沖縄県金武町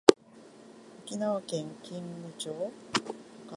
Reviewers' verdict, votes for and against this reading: accepted, 2, 0